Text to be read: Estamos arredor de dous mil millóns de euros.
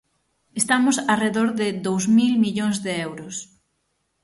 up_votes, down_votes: 6, 0